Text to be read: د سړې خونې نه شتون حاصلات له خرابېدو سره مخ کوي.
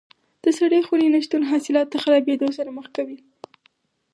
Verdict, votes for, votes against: accepted, 4, 2